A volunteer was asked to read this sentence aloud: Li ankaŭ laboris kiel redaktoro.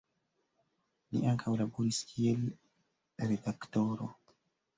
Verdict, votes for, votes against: rejected, 0, 2